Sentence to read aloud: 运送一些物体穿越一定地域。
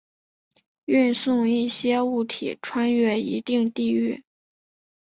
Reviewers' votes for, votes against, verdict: 2, 0, accepted